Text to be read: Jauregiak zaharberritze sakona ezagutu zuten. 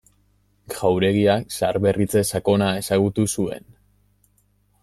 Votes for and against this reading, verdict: 0, 2, rejected